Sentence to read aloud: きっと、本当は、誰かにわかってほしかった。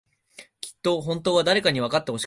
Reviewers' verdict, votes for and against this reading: rejected, 1, 2